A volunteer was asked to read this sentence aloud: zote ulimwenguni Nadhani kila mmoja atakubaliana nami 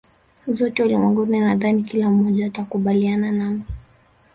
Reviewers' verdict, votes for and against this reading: accepted, 4, 0